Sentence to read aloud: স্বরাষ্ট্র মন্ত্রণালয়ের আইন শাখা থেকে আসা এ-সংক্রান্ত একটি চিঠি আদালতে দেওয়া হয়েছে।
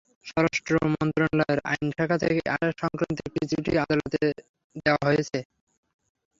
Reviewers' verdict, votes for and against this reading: rejected, 0, 6